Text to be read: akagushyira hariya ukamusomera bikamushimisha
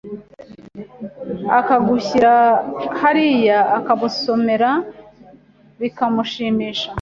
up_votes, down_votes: 2, 1